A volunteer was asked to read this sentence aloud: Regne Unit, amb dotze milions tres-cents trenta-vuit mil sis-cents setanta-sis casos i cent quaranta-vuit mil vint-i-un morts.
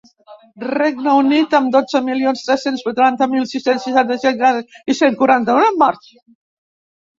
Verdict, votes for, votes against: rejected, 0, 2